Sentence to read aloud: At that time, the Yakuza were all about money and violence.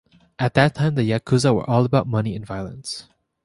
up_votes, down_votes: 2, 0